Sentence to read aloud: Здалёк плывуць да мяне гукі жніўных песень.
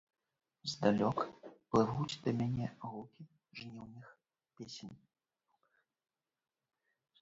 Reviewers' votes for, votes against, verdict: 2, 1, accepted